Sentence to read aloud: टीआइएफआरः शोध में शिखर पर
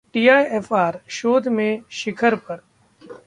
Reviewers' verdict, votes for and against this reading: accepted, 2, 0